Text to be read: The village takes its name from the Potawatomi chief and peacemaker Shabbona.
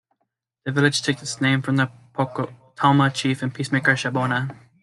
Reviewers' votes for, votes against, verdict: 1, 2, rejected